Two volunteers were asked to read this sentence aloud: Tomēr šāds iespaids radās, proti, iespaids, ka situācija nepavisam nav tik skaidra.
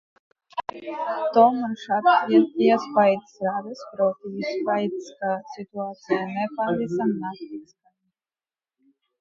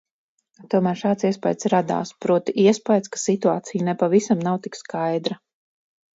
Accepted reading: second